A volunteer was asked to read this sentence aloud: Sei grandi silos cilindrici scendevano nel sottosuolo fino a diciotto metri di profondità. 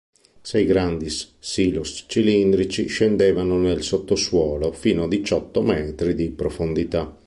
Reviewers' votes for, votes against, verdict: 1, 2, rejected